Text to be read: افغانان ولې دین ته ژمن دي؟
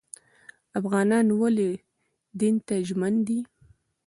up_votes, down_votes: 1, 2